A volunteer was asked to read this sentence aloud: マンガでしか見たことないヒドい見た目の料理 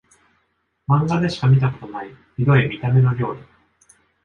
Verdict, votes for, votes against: accepted, 2, 0